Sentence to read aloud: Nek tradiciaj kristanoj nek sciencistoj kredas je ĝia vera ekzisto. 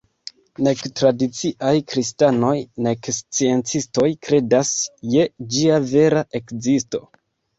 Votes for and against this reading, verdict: 2, 0, accepted